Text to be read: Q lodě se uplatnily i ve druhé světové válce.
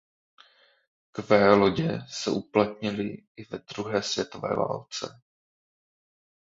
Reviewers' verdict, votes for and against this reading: accepted, 2, 0